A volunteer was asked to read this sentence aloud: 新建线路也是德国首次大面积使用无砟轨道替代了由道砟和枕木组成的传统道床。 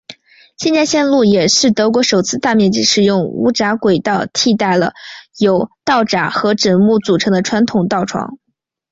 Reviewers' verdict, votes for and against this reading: rejected, 1, 2